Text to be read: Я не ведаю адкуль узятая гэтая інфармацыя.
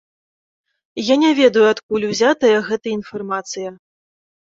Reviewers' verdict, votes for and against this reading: rejected, 1, 2